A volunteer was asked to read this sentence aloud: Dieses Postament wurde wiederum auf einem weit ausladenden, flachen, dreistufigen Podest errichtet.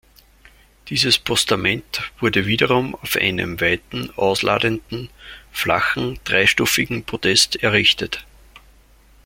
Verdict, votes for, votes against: rejected, 1, 2